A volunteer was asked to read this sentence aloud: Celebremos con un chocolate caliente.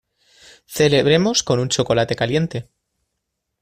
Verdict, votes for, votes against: accepted, 2, 0